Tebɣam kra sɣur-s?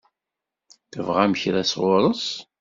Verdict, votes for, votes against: accepted, 2, 0